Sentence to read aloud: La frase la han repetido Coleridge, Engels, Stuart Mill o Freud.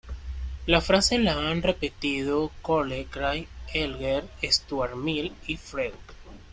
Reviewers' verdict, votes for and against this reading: rejected, 0, 2